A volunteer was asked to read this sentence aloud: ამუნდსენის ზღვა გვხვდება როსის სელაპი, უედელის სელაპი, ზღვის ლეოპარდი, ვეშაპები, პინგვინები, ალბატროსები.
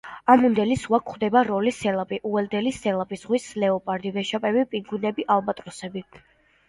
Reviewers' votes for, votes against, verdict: 2, 1, accepted